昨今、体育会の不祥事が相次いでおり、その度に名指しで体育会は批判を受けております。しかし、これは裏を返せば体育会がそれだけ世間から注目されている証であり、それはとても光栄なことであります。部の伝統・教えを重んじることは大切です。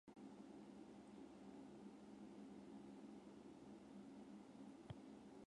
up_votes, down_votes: 0, 2